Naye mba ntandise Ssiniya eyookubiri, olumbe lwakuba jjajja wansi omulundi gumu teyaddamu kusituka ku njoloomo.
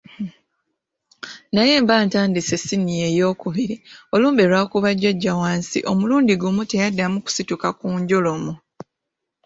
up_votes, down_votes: 2, 1